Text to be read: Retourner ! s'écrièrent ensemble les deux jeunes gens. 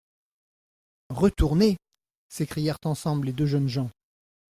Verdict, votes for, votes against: accepted, 2, 0